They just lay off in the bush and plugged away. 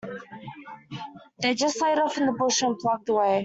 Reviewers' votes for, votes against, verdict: 0, 2, rejected